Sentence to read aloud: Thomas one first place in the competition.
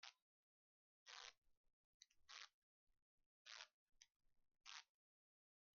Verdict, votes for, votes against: rejected, 1, 2